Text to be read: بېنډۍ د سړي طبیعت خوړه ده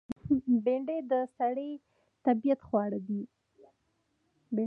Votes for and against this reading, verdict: 3, 0, accepted